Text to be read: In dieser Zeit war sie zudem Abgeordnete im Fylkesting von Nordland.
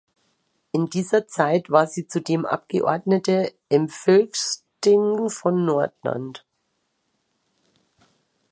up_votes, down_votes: 1, 2